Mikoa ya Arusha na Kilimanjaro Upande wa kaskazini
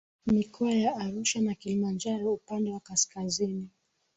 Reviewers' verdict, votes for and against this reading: accepted, 3, 1